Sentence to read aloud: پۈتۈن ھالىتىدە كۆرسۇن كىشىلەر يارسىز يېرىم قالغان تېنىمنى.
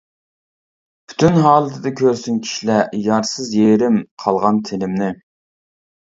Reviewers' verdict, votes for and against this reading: rejected, 1, 2